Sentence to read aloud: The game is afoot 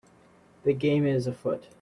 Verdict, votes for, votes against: accepted, 2, 0